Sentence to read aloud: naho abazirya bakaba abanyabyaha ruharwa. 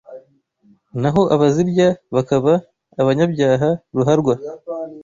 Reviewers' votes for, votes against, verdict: 2, 0, accepted